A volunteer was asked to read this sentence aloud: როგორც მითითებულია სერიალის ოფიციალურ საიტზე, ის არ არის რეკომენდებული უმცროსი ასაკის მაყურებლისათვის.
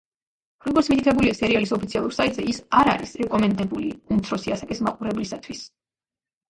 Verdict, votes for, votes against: accepted, 2, 0